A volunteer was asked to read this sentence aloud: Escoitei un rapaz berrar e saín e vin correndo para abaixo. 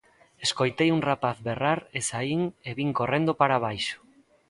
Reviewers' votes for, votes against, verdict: 2, 0, accepted